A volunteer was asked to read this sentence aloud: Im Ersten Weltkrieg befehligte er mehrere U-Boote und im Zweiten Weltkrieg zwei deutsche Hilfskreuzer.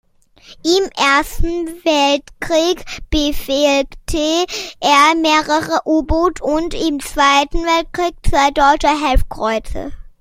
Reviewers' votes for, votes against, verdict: 0, 2, rejected